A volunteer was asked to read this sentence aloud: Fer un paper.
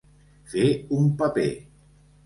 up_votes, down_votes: 3, 0